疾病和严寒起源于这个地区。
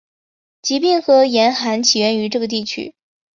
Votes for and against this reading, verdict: 4, 0, accepted